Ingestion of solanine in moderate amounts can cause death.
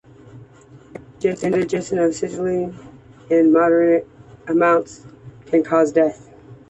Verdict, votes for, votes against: rejected, 1, 3